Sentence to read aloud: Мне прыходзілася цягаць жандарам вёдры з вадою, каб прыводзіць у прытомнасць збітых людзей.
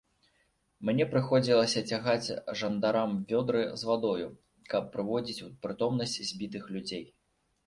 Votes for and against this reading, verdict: 1, 2, rejected